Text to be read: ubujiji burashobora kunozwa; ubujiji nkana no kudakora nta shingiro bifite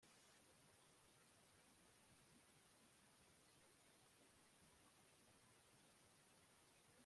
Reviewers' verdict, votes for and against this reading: rejected, 0, 3